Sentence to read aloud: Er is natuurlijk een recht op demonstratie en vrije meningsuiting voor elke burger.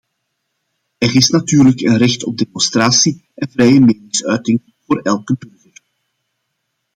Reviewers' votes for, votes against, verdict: 0, 2, rejected